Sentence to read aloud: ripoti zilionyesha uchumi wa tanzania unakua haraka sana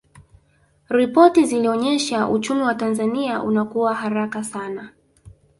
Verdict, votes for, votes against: accepted, 2, 1